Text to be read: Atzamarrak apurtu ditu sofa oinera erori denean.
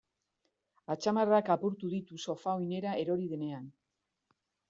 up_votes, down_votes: 2, 0